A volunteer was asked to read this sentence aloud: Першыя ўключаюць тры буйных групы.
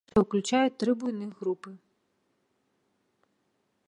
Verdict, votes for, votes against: rejected, 0, 2